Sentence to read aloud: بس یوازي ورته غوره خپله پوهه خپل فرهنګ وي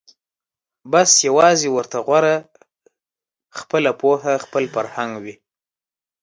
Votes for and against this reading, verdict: 2, 0, accepted